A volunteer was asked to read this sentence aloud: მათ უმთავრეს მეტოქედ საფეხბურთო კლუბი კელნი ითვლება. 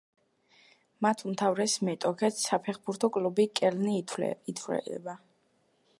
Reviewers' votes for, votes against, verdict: 1, 2, rejected